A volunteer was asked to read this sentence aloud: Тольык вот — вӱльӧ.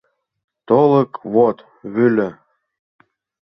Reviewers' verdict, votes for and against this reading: rejected, 1, 2